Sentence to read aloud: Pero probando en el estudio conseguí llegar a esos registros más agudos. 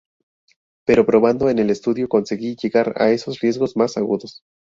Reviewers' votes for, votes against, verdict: 0, 2, rejected